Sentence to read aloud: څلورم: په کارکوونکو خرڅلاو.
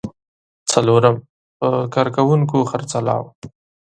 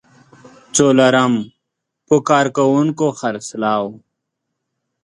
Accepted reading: first